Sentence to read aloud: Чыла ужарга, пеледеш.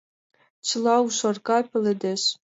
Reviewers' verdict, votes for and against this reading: accepted, 2, 0